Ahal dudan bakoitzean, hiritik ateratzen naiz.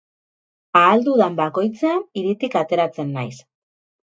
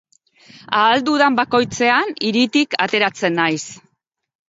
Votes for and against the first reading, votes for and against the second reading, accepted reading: 2, 4, 2, 0, second